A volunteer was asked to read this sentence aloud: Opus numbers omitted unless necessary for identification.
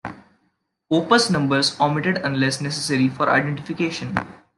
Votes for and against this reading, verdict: 2, 0, accepted